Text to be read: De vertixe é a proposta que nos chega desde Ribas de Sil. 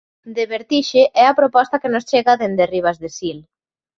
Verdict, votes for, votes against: accepted, 2, 1